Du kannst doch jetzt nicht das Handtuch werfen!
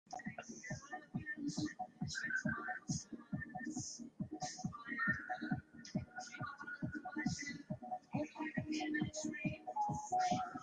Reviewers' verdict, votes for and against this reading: rejected, 0, 2